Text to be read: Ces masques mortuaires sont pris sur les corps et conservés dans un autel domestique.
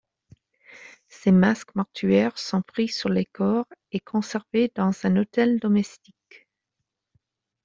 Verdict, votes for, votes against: accepted, 2, 0